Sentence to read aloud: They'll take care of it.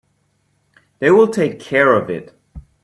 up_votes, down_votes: 1, 2